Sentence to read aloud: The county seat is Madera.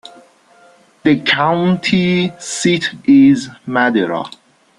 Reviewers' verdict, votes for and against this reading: rejected, 2, 3